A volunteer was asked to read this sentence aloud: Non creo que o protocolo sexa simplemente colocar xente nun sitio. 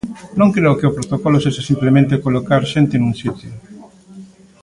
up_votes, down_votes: 2, 0